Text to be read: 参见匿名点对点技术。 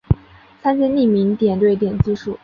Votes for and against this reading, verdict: 3, 0, accepted